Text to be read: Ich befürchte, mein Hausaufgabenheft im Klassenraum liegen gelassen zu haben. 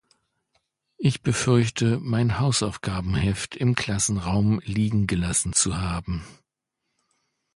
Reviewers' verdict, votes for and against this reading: accepted, 2, 0